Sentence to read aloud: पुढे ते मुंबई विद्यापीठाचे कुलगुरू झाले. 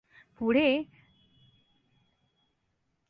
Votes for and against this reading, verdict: 1, 2, rejected